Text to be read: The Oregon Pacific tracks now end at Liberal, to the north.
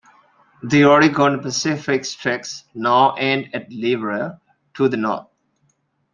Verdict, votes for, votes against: rejected, 0, 2